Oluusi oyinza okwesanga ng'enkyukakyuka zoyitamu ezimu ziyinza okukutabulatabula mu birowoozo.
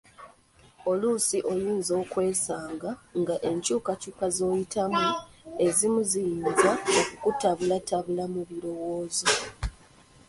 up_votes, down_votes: 2, 1